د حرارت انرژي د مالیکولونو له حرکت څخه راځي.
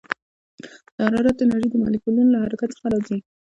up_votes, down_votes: 2, 1